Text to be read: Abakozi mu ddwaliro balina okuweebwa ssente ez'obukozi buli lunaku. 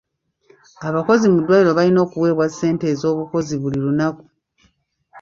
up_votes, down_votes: 0, 2